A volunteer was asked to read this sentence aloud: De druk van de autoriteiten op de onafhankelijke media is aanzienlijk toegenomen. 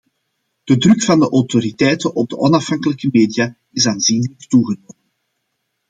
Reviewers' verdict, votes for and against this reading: accepted, 2, 1